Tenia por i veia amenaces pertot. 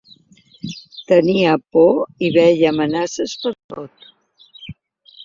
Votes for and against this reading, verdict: 1, 2, rejected